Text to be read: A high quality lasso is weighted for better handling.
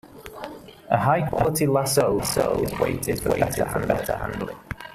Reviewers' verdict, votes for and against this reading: rejected, 0, 2